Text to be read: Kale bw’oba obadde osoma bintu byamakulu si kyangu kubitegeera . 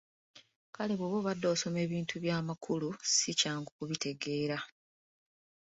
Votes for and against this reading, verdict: 2, 1, accepted